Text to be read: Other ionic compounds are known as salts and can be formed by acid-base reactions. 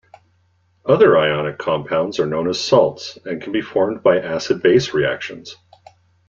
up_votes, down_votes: 2, 0